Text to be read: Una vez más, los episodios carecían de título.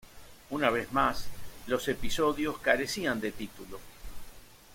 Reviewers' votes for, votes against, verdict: 0, 2, rejected